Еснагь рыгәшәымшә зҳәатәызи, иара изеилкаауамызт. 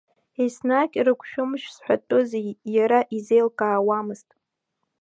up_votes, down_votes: 2, 0